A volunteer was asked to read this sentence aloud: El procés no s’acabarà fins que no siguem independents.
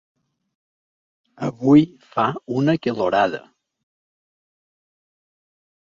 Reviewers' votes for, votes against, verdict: 1, 2, rejected